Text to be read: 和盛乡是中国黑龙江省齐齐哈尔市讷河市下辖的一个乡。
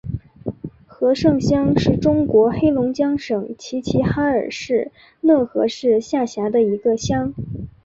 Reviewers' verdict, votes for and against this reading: accepted, 3, 0